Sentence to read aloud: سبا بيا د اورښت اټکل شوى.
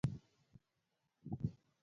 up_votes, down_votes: 1, 2